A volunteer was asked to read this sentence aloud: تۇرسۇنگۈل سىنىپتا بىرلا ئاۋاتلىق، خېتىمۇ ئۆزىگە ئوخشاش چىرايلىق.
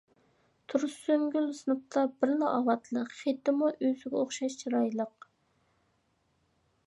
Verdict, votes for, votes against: accepted, 2, 0